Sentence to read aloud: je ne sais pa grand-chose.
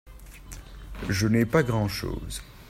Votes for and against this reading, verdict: 0, 2, rejected